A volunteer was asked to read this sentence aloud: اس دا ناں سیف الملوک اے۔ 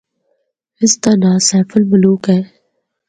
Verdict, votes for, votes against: accepted, 4, 0